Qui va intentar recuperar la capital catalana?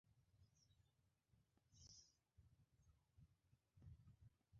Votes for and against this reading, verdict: 0, 2, rejected